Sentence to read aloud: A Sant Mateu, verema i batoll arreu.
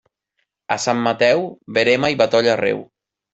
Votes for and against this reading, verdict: 1, 2, rejected